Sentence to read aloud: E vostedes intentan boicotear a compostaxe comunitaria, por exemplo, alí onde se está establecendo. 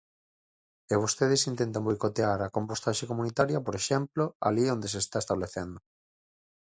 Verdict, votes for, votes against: accepted, 4, 0